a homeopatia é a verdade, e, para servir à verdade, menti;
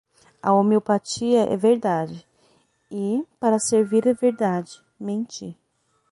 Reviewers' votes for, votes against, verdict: 3, 3, rejected